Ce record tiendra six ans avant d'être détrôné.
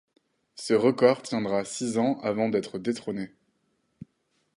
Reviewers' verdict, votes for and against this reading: accepted, 4, 2